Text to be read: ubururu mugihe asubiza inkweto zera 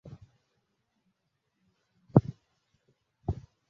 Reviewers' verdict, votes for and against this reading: rejected, 0, 2